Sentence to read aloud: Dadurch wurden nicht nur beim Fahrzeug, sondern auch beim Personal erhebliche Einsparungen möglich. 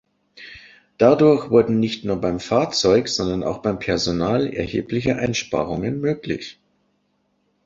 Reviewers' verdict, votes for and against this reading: accepted, 3, 0